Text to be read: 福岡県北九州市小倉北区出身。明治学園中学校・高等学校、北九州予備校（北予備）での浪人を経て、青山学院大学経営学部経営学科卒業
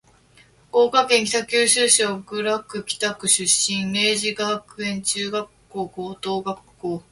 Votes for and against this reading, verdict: 1, 6, rejected